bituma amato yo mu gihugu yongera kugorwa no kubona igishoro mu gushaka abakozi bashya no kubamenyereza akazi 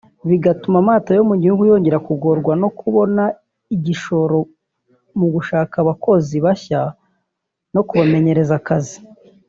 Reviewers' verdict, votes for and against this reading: rejected, 0, 2